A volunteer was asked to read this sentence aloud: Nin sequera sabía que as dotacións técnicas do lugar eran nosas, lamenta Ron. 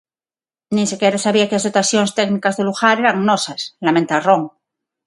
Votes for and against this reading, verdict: 6, 0, accepted